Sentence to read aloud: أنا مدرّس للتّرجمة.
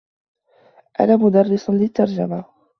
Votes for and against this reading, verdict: 2, 0, accepted